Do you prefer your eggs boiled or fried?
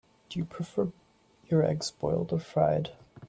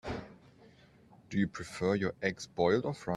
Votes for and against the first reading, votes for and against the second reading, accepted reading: 2, 0, 0, 2, first